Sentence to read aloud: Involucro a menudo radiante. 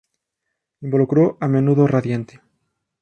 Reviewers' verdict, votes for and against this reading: accepted, 2, 0